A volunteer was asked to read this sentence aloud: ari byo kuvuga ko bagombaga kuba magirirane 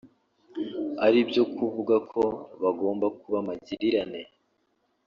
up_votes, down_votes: 1, 2